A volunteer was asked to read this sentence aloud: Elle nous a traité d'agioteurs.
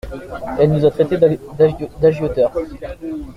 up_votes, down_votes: 0, 2